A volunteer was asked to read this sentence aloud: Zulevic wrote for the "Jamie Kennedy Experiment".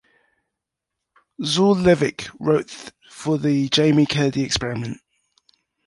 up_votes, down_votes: 1, 3